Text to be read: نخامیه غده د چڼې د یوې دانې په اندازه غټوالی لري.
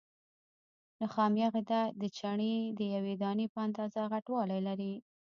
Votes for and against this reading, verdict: 2, 0, accepted